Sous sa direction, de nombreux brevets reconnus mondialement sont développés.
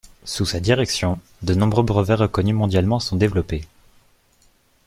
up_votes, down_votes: 1, 2